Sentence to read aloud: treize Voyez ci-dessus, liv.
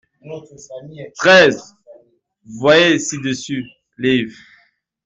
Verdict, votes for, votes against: accepted, 2, 0